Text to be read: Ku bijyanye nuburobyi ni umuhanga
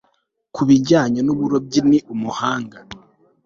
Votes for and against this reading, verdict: 2, 0, accepted